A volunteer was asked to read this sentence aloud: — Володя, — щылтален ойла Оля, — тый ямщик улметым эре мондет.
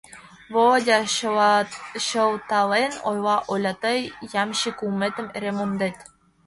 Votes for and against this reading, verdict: 1, 2, rejected